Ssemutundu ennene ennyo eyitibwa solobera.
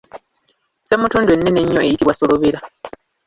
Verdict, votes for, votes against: rejected, 0, 3